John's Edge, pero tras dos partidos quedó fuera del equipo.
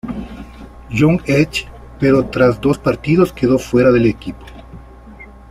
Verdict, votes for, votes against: accepted, 2, 0